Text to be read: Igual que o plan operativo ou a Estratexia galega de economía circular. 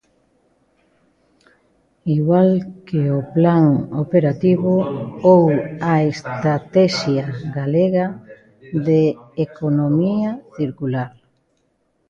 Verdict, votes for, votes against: rejected, 1, 2